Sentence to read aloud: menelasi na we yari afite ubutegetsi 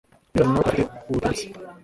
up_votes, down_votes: 0, 2